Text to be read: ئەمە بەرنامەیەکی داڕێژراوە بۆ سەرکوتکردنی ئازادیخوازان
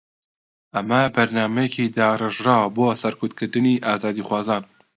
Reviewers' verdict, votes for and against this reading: accepted, 2, 0